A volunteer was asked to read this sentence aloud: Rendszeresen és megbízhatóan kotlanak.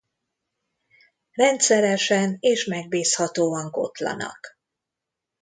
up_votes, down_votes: 2, 0